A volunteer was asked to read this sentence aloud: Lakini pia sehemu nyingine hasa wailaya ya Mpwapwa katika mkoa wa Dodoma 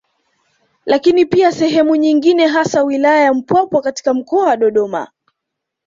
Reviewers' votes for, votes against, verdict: 2, 0, accepted